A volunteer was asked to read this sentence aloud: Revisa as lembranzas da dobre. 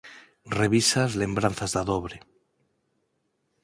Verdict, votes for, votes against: accepted, 4, 0